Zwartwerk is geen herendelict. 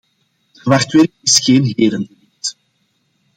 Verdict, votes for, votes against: rejected, 0, 2